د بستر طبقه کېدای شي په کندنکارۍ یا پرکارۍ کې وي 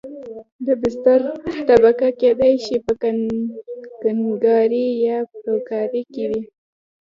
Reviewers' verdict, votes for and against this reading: rejected, 1, 2